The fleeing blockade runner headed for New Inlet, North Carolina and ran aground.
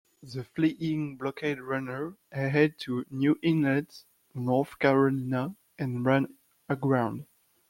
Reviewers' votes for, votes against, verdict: 0, 2, rejected